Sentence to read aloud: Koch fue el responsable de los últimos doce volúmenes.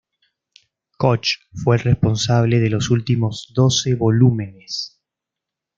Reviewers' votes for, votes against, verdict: 2, 0, accepted